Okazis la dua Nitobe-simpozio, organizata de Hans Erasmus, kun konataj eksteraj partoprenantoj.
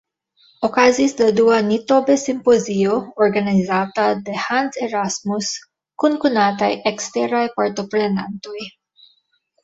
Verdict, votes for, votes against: accepted, 2, 0